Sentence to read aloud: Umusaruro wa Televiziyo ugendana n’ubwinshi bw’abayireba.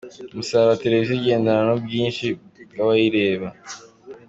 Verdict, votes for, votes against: accepted, 2, 0